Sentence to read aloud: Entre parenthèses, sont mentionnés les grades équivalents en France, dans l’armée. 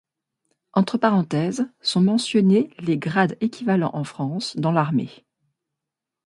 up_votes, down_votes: 2, 0